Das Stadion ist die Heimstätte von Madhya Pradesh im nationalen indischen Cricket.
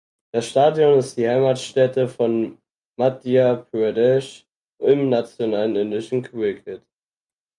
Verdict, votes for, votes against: rejected, 2, 4